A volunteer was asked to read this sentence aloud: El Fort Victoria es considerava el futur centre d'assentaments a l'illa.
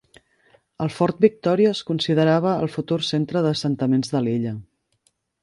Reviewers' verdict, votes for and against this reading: rejected, 1, 2